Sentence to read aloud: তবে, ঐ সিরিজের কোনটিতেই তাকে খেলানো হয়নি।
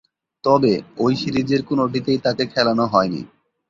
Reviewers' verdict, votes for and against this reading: accepted, 2, 0